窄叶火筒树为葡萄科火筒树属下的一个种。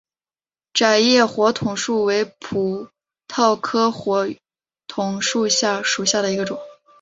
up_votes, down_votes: 1, 2